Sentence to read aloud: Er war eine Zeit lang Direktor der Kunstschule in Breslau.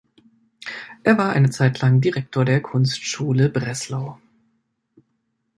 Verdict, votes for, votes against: rejected, 0, 2